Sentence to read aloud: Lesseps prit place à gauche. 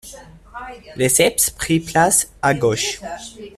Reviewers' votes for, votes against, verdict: 2, 0, accepted